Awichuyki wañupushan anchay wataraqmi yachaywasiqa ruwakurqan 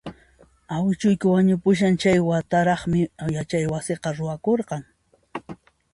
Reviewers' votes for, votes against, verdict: 2, 0, accepted